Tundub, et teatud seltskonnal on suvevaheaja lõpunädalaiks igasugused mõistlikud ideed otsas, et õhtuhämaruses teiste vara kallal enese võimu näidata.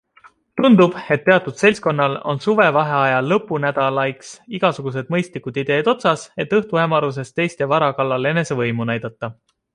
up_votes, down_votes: 2, 0